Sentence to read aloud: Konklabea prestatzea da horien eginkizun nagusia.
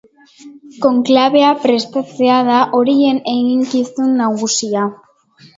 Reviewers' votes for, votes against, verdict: 5, 0, accepted